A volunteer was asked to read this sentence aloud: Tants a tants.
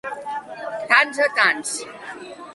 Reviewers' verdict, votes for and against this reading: accepted, 2, 0